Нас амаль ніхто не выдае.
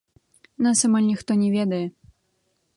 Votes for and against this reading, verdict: 0, 2, rejected